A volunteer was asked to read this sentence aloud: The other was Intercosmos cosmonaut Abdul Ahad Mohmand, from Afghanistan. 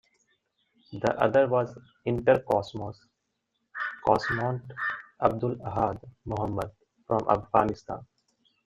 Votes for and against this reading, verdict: 2, 0, accepted